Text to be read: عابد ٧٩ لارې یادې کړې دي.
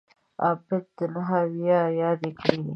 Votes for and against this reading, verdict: 0, 2, rejected